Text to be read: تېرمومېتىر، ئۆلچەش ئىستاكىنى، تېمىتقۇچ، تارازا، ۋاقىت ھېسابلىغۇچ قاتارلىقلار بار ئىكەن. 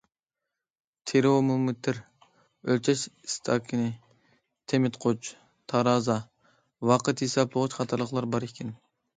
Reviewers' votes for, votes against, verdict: 0, 2, rejected